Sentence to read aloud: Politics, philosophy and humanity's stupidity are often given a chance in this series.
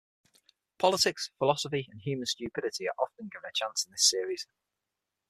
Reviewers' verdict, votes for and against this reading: rejected, 3, 6